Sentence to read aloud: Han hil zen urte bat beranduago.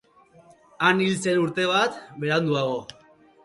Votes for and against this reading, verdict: 2, 0, accepted